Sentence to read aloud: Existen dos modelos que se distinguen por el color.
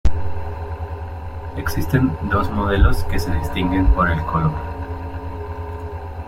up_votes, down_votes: 2, 1